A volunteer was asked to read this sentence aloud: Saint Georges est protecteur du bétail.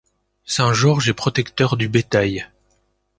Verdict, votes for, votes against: accepted, 2, 0